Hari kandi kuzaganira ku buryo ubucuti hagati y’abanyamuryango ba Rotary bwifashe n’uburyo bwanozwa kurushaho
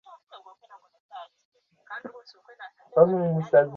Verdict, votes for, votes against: rejected, 0, 2